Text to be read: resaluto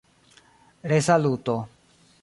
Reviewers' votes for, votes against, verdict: 2, 0, accepted